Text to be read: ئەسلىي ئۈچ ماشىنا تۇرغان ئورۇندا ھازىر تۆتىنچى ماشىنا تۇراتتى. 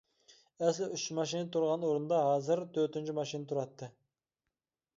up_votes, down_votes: 0, 2